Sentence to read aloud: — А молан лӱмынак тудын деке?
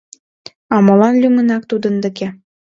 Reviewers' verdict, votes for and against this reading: accepted, 2, 1